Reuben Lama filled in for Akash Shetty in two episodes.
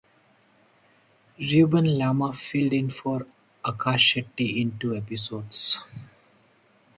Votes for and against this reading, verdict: 4, 0, accepted